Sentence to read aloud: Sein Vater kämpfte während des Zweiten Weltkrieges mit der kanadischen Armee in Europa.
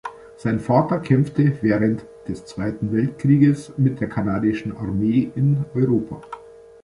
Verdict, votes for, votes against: accepted, 2, 0